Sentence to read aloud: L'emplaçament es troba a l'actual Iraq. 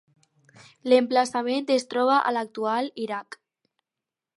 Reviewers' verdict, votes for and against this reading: accepted, 4, 0